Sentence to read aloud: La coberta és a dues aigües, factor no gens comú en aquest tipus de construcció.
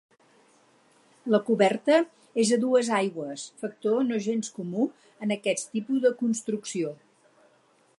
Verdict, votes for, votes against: accepted, 4, 0